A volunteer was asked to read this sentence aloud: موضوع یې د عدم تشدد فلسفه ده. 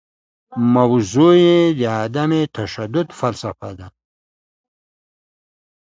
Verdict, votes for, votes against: accepted, 2, 0